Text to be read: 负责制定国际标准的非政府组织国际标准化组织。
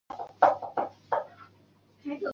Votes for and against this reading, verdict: 0, 2, rejected